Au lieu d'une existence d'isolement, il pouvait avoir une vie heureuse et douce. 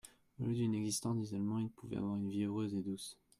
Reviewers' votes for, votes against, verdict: 1, 2, rejected